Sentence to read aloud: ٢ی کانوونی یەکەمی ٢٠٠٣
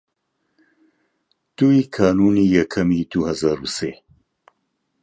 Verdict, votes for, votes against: rejected, 0, 2